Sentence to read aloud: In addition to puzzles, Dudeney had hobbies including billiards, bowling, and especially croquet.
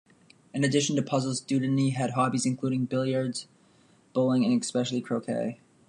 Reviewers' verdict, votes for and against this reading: rejected, 1, 2